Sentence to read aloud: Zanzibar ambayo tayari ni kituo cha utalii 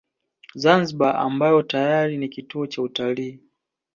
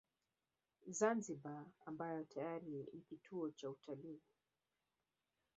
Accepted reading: first